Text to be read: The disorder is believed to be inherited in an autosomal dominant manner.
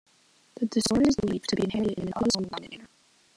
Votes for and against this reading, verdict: 0, 2, rejected